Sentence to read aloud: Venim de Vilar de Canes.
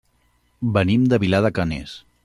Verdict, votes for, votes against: accepted, 2, 0